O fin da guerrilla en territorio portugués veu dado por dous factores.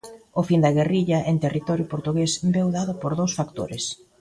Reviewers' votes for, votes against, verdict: 2, 0, accepted